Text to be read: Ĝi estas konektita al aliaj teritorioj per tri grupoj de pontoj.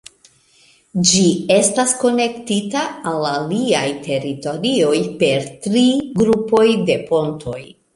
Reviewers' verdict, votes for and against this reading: rejected, 1, 2